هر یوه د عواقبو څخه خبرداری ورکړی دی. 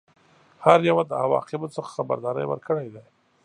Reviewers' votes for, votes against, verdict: 2, 0, accepted